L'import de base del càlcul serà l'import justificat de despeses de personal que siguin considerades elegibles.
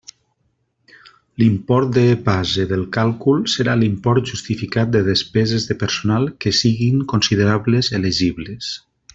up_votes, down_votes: 0, 2